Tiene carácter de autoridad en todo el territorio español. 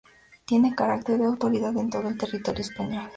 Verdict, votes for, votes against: accepted, 2, 0